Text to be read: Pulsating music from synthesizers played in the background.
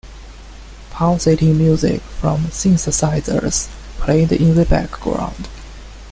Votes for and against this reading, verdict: 0, 2, rejected